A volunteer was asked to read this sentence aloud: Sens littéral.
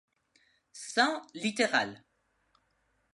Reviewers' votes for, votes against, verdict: 1, 2, rejected